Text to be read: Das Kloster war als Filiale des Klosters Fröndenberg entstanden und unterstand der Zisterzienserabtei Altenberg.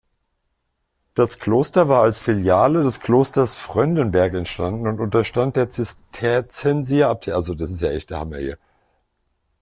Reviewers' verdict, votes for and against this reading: rejected, 1, 2